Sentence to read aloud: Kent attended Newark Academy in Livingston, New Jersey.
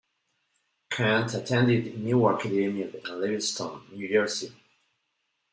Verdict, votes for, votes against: rejected, 0, 2